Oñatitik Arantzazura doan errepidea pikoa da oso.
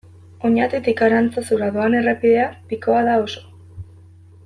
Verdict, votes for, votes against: accepted, 2, 0